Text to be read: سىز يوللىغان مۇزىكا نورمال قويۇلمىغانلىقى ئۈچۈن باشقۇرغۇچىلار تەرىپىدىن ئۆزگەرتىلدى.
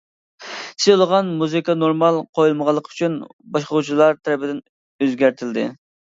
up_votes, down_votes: 0, 2